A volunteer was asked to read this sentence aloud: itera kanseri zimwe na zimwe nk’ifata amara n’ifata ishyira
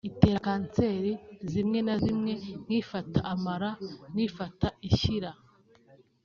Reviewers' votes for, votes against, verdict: 2, 0, accepted